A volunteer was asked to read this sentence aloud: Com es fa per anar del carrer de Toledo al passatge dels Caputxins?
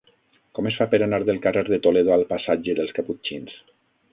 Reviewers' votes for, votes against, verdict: 3, 6, rejected